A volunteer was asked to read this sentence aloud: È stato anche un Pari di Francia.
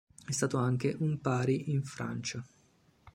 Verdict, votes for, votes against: rejected, 1, 2